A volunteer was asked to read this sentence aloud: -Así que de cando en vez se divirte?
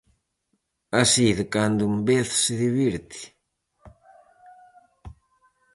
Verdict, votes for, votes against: rejected, 0, 4